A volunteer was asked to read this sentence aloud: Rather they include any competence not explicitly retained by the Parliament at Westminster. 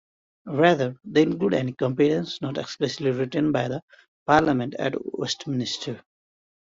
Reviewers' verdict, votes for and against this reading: rejected, 1, 2